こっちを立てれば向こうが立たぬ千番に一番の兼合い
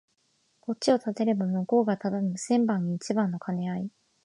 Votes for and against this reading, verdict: 3, 0, accepted